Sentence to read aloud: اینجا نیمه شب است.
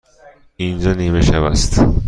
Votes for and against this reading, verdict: 2, 0, accepted